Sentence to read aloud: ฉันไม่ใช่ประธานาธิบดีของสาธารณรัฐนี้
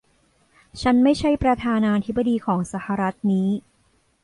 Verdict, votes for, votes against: rejected, 1, 2